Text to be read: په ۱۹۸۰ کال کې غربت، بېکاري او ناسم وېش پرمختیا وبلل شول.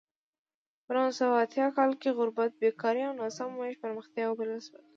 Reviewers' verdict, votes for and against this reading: rejected, 0, 2